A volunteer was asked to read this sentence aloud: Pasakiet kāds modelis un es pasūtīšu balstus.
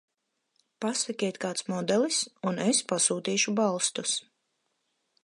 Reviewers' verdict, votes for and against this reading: accepted, 4, 0